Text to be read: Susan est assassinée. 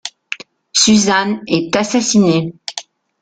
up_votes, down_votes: 2, 0